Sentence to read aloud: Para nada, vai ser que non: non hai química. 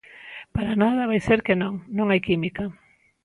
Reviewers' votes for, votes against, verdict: 2, 0, accepted